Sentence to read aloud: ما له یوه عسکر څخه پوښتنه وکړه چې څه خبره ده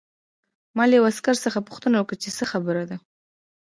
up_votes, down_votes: 1, 2